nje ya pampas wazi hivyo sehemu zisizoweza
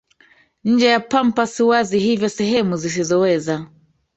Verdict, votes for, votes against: rejected, 1, 2